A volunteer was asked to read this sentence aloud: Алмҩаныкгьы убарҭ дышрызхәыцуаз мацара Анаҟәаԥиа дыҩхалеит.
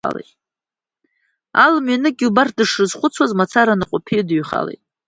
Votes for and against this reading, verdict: 1, 2, rejected